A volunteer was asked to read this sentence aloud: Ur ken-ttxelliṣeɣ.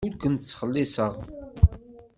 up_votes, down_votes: 2, 0